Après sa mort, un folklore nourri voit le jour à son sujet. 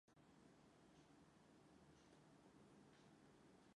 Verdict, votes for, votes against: rejected, 0, 2